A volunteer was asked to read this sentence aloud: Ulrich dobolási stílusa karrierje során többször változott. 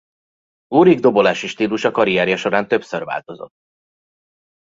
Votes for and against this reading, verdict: 2, 0, accepted